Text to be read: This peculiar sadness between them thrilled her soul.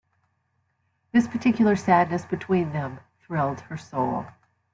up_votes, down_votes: 0, 2